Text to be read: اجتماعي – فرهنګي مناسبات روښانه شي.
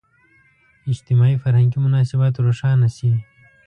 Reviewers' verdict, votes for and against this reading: accepted, 3, 0